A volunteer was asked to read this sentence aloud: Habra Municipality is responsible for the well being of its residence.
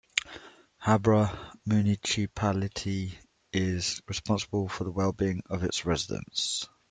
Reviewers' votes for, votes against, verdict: 1, 2, rejected